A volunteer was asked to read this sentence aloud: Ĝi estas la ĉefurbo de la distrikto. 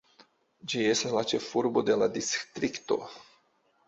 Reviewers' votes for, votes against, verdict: 2, 0, accepted